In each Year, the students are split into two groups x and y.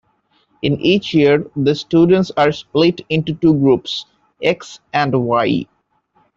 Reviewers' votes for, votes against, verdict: 2, 0, accepted